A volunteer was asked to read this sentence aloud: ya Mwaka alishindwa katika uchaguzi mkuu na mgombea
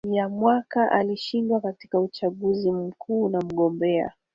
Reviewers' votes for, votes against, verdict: 3, 2, accepted